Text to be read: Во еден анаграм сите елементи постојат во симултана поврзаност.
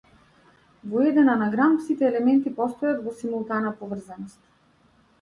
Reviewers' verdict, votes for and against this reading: accepted, 2, 0